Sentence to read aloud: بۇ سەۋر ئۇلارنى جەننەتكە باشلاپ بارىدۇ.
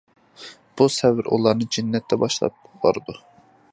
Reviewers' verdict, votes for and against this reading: rejected, 1, 2